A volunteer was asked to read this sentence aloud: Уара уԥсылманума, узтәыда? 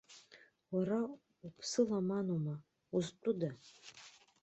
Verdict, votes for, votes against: rejected, 1, 2